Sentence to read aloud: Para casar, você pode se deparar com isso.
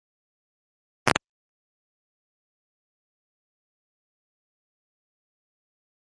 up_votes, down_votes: 0, 2